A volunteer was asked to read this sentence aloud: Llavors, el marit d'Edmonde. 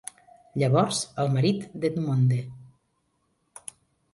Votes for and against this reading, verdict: 1, 2, rejected